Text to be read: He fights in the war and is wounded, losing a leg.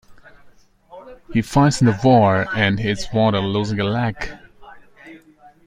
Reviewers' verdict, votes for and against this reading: rejected, 0, 2